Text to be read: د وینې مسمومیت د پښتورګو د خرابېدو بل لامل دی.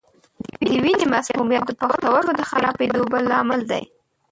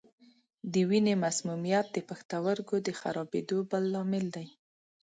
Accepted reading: second